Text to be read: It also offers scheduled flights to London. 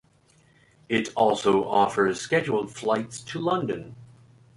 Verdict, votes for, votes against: accepted, 3, 0